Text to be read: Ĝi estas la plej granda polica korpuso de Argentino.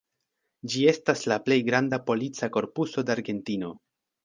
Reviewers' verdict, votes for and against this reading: accepted, 2, 0